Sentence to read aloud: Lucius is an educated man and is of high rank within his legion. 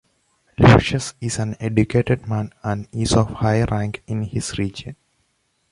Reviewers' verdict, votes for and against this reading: rejected, 1, 2